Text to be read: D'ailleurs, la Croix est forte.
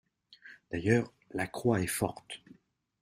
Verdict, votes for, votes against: accepted, 2, 0